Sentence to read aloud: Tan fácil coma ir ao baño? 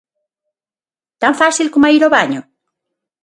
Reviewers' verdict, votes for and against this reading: accepted, 6, 0